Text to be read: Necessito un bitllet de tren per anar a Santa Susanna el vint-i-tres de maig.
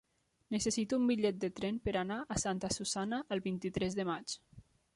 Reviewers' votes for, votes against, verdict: 3, 0, accepted